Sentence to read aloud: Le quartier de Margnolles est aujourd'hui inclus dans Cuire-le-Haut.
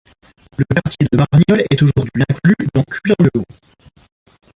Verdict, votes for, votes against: accepted, 2, 1